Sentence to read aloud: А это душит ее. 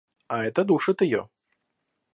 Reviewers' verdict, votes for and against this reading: accepted, 2, 1